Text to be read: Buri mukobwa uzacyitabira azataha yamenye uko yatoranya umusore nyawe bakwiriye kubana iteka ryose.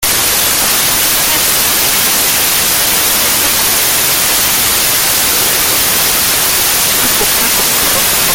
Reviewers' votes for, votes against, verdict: 0, 2, rejected